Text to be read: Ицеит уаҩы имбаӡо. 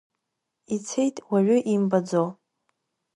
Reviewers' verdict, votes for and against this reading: accepted, 2, 0